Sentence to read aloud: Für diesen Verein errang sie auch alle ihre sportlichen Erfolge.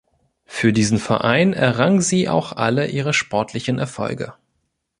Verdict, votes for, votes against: accepted, 4, 0